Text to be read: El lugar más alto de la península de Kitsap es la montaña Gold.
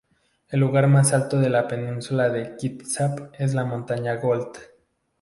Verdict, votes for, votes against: accepted, 2, 0